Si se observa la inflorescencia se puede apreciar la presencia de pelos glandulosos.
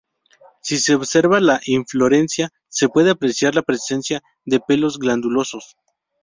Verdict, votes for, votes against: rejected, 0, 2